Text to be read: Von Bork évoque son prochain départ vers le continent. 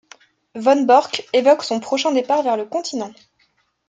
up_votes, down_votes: 2, 0